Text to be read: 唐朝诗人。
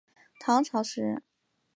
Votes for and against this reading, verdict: 2, 0, accepted